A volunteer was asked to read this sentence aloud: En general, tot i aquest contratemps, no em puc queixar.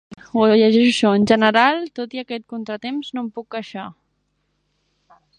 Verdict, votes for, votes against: rejected, 0, 5